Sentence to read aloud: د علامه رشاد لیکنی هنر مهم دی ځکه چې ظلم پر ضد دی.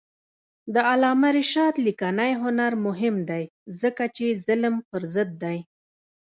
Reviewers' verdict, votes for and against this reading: accepted, 2, 0